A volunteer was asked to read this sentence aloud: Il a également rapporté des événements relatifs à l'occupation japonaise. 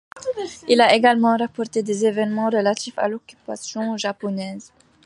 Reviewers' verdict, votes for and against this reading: accepted, 2, 0